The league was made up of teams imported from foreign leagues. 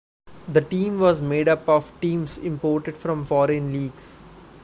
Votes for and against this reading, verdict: 0, 2, rejected